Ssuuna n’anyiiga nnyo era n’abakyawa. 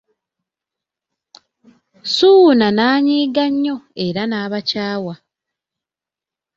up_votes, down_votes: 2, 0